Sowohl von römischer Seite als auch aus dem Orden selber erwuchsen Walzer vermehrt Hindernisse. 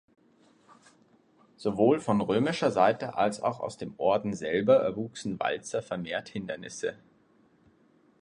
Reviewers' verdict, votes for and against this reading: accepted, 2, 0